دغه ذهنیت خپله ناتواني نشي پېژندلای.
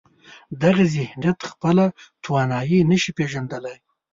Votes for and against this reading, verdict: 0, 2, rejected